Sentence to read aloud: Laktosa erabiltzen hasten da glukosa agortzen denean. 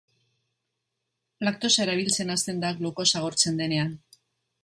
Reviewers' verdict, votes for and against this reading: accepted, 2, 0